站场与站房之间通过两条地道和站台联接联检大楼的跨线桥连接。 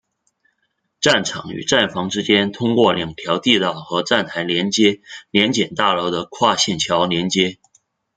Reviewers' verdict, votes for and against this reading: rejected, 0, 2